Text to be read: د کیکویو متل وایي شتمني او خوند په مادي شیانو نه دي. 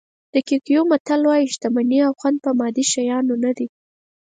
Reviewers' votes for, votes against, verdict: 4, 0, accepted